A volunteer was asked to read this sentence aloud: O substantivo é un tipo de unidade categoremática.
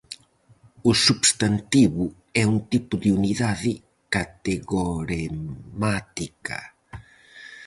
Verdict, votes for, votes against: rejected, 2, 2